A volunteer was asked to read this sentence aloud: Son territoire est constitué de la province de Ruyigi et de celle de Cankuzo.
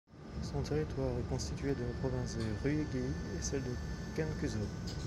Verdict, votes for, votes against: rejected, 0, 2